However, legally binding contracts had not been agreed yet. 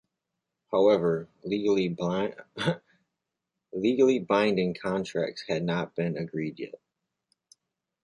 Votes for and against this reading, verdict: 0, 2, rejected